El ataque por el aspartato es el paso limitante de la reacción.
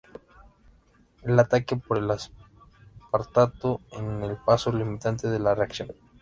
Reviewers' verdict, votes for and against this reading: rejected, 0, 2